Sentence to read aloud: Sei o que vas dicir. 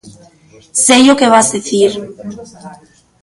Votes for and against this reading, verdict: 1, 2, rejected